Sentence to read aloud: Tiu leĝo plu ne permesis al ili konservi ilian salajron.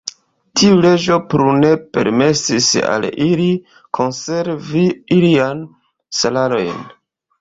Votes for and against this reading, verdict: 0, 2, rejected